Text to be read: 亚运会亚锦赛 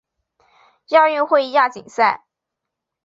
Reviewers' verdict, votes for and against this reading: accepted, 2, 0